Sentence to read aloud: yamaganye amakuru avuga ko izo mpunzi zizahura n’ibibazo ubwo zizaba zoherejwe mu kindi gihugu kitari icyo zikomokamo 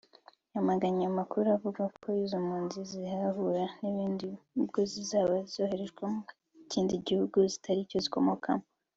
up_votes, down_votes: 0, 2